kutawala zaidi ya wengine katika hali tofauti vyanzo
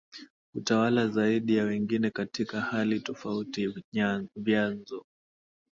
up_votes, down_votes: 2, 1